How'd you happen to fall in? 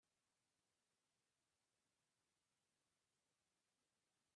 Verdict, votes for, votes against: rejected, 0, 2